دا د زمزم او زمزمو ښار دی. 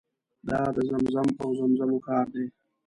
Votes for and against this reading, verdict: 0, 2, rejected